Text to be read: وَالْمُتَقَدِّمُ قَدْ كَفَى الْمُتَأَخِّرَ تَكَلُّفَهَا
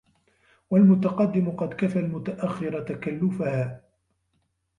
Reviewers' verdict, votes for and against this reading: rejected, 1, 2